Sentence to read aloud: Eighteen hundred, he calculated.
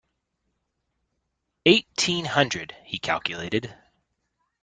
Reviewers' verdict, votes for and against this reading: accepted, 2, 0